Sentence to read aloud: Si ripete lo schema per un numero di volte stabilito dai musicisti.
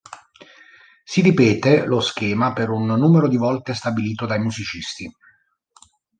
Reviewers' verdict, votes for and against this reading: accepted, 2, 0